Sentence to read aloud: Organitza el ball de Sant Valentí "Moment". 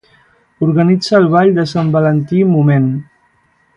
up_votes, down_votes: 2, 0